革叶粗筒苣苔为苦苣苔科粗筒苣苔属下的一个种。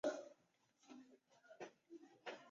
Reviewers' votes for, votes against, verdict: 0, 2, rejected